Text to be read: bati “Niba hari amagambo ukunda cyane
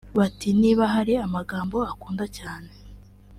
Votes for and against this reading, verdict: 1, 2, rejected